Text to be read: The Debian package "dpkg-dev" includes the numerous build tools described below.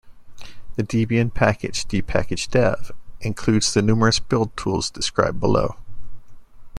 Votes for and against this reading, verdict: 2, 1, accepted